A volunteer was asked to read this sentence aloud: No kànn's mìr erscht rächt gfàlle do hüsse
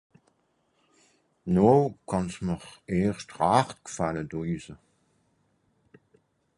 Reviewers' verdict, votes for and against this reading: rejected, 2, 4